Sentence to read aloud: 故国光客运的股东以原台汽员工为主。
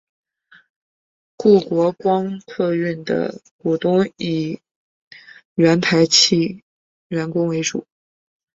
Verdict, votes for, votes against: accepted, 2, 0